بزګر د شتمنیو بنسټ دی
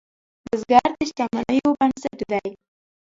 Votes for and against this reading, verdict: 0, 2, rejected